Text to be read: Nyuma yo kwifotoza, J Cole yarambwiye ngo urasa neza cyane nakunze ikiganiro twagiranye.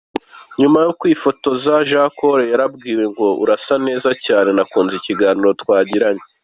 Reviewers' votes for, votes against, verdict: 2, 0, accepted